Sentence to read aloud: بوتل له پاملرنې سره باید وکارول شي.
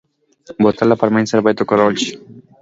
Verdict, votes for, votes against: rejected, 1, 2